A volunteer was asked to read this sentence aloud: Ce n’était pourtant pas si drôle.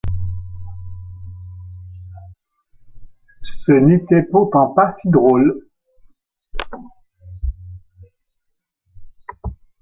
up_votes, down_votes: 2, 0